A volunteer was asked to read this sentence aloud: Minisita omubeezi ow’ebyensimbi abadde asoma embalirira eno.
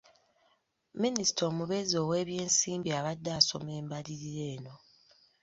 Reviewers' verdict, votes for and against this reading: accepted, 2, 0